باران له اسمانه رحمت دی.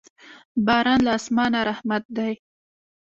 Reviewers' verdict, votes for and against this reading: accepted, 2, 1